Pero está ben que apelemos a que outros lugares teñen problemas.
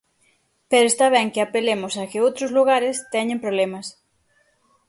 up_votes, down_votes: 6, 0